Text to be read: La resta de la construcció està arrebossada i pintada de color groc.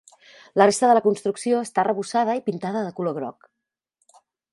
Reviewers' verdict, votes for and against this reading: accepted, 3, 0